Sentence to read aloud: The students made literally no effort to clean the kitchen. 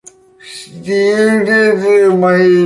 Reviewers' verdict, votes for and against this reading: rejected, 0, 2